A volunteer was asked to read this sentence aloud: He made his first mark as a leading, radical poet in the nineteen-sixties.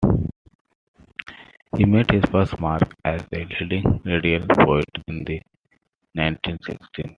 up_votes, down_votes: 1, 2